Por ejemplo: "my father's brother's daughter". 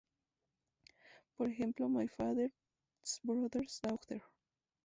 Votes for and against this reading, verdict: 0, 2, rejected